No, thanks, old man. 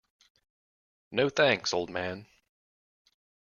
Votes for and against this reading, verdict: 2, 0, accepted